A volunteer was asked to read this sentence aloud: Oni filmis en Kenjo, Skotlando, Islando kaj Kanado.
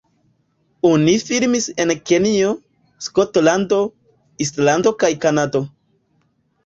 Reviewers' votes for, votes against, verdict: 1, 2, rejected